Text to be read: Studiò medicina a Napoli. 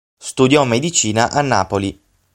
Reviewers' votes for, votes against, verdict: 6, 0, accepted